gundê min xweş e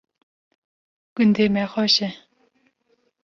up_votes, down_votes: 0, 2